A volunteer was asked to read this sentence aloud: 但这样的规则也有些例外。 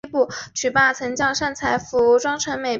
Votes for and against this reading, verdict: 0, 4, rejected